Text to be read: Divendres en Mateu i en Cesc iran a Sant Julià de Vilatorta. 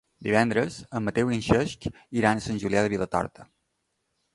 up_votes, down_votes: 1, 2